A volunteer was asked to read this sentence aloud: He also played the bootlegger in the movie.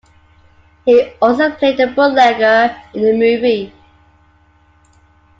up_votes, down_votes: 2, 0